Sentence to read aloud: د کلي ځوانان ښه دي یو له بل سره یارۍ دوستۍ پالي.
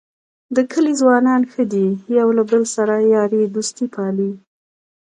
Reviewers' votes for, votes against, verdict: 2, 0, accepted